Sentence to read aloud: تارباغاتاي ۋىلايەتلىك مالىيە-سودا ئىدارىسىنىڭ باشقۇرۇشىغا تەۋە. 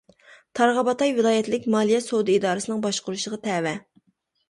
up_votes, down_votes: 0, 2